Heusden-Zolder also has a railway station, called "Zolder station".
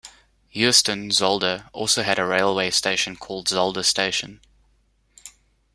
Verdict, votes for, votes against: rejected, 0, 2